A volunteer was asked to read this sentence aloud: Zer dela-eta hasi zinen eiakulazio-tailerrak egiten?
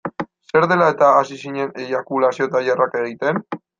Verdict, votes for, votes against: rejected, 1, 2